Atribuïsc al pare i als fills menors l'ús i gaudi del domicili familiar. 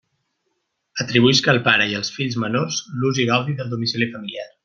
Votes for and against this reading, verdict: 2, 0, accepted